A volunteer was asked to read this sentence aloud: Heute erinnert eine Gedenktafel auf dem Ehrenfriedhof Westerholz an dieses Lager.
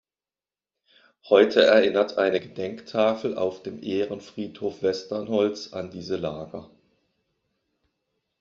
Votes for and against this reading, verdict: 1, 2, rejected